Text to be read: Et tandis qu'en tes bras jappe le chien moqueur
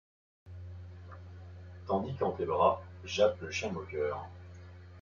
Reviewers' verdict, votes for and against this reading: rejected, 1, 2